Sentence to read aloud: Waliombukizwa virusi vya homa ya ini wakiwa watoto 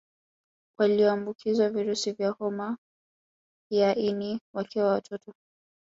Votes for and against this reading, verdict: 2, 0, accepted